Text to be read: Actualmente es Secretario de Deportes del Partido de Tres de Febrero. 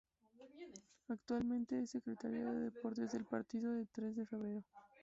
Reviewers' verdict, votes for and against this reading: rejected, 0, 2